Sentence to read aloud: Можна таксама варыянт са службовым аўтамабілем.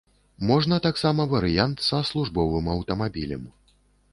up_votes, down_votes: 2, 0